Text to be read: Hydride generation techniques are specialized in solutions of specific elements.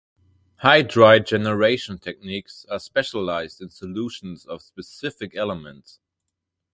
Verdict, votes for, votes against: accepted, 4, 0